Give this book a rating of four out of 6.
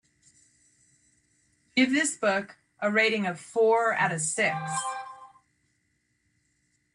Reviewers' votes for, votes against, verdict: 0, 2, rejected